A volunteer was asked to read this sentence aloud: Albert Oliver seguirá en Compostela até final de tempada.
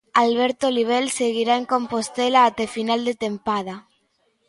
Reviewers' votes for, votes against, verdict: 1, 2, rejected